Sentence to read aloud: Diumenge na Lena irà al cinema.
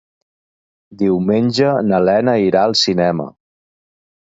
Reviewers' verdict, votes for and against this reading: accepted, 2, 0